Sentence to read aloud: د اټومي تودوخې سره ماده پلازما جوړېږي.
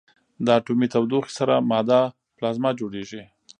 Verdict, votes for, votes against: accepted, 2, 0